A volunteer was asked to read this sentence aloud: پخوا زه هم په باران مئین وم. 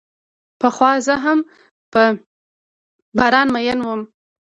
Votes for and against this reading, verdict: 1, 2, rejected